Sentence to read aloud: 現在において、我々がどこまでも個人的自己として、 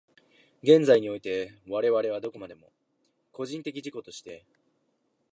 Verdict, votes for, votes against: rejected, 1, 2